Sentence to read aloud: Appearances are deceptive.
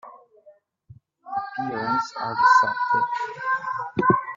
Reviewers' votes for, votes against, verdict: 0, 2, rejected